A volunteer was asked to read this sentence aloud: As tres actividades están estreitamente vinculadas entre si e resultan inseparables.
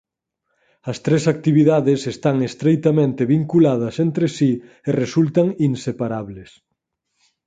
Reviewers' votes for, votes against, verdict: 4, 0, accepted